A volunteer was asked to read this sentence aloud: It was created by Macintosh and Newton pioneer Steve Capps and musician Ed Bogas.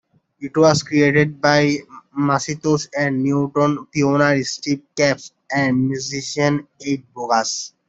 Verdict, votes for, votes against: rejected, 0, 2